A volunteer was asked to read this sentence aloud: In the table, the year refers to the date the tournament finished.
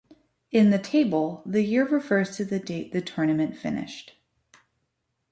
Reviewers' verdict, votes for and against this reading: accepted, 3, 1